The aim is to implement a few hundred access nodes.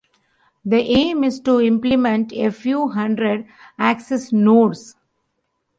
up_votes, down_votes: 2, 0